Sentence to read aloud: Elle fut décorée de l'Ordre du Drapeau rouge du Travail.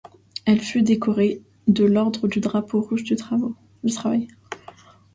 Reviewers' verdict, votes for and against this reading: rejected, 0, 2